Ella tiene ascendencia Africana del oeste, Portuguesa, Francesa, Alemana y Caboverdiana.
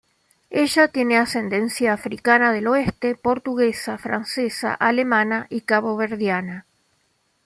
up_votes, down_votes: 2, 0